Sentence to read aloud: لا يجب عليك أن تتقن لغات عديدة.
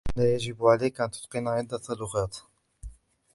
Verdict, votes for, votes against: rejected, 0, 2